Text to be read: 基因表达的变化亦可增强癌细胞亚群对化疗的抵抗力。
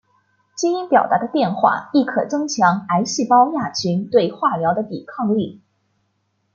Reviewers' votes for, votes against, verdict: 2, 0, accepted